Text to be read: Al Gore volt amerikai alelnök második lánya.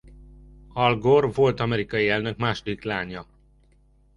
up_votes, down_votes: 0, 2